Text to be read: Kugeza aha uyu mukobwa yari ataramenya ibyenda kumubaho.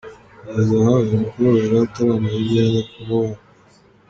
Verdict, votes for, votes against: accepted, 2, 0